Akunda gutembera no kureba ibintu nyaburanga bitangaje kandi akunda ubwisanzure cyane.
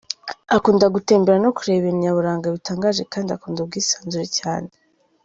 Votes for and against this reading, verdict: 0, 2, rejected